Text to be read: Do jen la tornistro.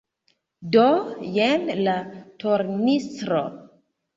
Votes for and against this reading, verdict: 2, 0, accepted